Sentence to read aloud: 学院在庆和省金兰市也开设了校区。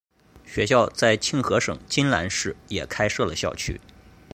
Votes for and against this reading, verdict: 2, 0, accepted